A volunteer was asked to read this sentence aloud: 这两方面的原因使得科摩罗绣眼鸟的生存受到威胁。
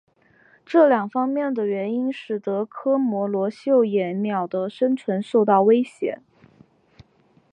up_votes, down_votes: 2, 1